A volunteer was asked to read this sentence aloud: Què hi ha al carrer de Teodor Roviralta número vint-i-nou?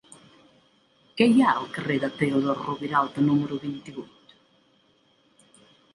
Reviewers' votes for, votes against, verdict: 0, 2, rejected